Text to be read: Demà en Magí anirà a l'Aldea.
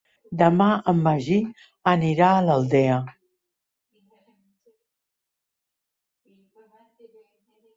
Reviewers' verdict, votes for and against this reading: accepted, 3, 0